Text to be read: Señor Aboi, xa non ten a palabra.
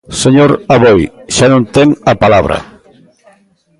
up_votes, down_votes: 2, 0